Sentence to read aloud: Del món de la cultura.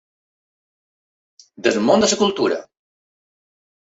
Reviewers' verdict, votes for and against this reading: rejected, 0, 2